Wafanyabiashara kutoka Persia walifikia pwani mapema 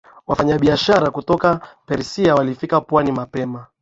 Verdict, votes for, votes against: accepted, 2, 0